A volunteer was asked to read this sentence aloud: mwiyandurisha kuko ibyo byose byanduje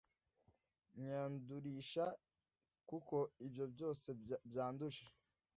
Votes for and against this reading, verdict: 0, 2, rejected